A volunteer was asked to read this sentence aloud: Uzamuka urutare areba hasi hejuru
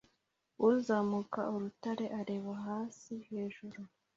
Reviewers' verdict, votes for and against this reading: accepted, 2, 0